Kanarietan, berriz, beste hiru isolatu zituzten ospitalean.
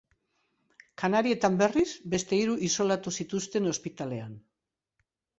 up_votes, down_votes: 2, 0